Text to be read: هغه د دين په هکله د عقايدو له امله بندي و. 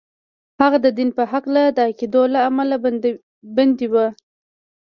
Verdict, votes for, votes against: rejected, 1, 2